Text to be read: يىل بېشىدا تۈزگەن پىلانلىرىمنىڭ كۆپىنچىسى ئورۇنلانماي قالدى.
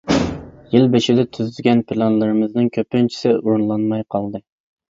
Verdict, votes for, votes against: rejected, 0, 2